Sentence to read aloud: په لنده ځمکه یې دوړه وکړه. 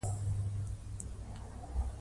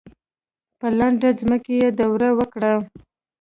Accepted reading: second